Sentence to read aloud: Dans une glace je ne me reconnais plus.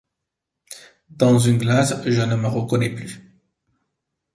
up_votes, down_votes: 0, 2